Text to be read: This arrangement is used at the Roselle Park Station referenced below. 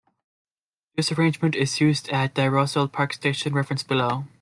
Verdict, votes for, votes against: accepted, 2, 0